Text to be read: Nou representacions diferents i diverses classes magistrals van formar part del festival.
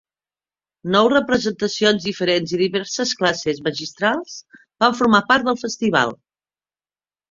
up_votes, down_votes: 2, 0